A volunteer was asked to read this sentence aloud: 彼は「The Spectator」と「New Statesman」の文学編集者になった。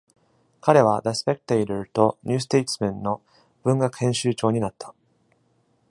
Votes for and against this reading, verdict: 1, 2, rejected